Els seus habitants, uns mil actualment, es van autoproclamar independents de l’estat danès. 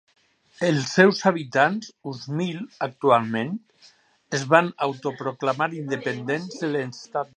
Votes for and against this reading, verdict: 0, 4, rejected